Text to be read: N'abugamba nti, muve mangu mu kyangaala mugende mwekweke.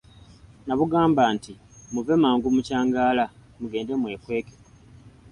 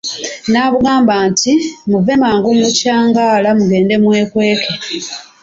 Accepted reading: first